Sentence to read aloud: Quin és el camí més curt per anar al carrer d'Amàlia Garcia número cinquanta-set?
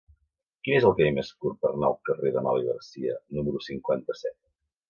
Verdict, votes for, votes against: rejected, 1, 2